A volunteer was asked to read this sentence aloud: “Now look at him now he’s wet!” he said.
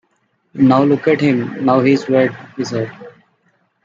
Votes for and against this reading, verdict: 2, 1, accepted